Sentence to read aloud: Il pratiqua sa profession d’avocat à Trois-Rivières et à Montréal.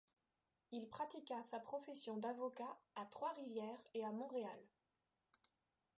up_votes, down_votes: 2, 0